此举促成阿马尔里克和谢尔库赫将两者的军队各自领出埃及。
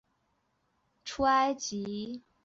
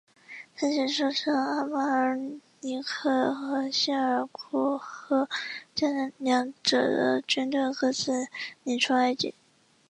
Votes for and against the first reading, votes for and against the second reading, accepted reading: 0, 4, 2, 0, second